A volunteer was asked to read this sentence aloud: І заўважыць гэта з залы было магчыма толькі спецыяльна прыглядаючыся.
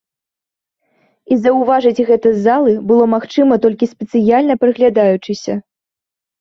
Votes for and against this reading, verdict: 2, 0, accepted